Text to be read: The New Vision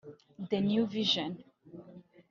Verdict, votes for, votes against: rejected, 1, 2